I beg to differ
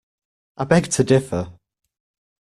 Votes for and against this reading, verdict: 2, 0, accepted